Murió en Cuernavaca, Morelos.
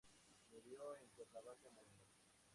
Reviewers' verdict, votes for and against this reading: rejected, 0, 4